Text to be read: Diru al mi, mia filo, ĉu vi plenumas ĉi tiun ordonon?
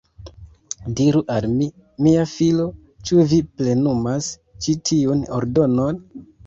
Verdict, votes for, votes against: rejected, 1, 2